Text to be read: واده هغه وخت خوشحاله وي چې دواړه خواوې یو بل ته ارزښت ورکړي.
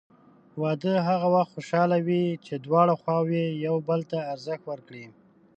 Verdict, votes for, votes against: accepted, 2, 0